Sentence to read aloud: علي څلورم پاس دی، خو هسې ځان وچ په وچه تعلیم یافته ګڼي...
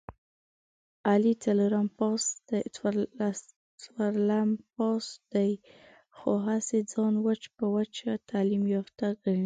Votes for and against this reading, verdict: 0, 2, rejected